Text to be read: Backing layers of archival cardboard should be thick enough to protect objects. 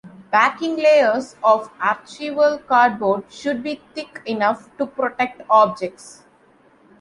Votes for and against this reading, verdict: 1, 2, rejected